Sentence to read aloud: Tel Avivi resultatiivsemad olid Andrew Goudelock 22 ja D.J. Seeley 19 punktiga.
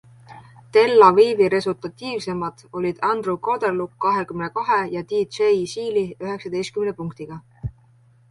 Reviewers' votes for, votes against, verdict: 0, 2, rejected